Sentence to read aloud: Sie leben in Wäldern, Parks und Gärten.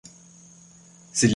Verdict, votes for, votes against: rejected, 0, 2